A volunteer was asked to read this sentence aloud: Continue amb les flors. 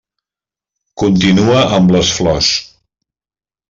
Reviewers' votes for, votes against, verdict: 1, 2, rejected